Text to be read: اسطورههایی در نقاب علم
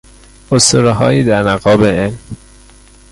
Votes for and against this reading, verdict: 0, 2, rejected